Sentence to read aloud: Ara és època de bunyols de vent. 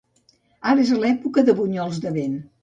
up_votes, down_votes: 1, 2